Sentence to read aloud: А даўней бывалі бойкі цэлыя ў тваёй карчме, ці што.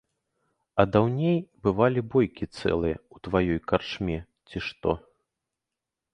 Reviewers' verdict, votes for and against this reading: accepted, 2, 0